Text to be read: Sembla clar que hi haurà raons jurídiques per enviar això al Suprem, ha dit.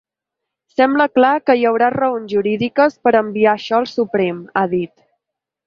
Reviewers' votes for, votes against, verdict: 3, 0, accepted